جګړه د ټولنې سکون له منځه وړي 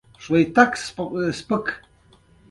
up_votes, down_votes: 0, 2